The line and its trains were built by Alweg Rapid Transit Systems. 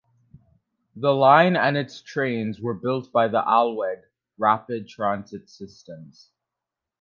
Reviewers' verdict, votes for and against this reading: rejected, 0, 2